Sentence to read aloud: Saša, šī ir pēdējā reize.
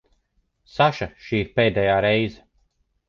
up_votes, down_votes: 2, 0